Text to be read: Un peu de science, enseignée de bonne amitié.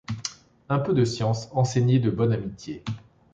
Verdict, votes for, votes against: accepted, 2, 0